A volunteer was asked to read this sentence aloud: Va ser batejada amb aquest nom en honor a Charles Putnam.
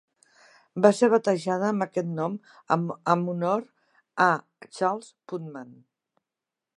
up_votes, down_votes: 1, 2